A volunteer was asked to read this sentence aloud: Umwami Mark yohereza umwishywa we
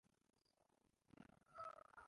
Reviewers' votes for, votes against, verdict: 0, 2, rejected